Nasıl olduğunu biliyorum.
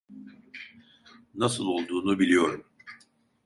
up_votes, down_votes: 2, 0